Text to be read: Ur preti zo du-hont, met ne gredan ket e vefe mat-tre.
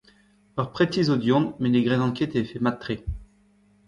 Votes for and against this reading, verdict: 1, 2, rejected